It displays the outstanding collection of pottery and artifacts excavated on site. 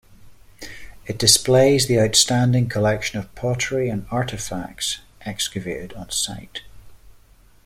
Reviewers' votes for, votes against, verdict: 2, 0, accepted